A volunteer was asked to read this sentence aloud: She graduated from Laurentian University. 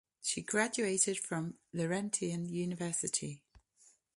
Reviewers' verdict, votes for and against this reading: rejected, 0, 2